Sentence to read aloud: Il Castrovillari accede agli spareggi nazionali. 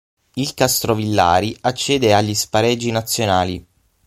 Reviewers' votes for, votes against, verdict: 0, 6, rejected